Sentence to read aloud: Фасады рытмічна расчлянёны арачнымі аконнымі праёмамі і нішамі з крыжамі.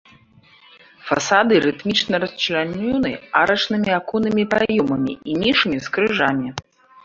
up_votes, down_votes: 1, 2